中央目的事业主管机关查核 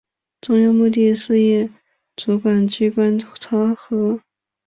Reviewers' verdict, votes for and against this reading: rejected, 1, 3